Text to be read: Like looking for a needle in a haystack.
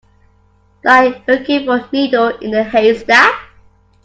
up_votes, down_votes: 0, 2